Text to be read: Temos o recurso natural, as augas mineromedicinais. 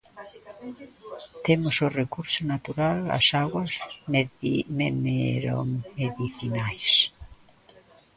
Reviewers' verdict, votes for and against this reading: rejected, 1, 2